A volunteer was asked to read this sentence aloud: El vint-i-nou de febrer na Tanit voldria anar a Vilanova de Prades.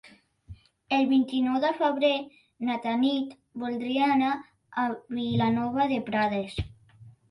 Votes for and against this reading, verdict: 3, 0, accepted